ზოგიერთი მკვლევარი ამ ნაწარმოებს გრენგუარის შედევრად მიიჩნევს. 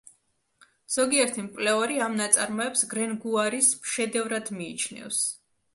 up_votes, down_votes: 2, 0